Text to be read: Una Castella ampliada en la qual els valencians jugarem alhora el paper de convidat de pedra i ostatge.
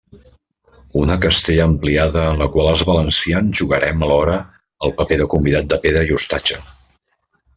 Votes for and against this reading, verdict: 2, 0, accepted